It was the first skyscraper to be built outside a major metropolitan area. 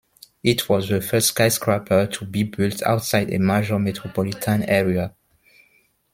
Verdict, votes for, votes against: rejected, 1, 2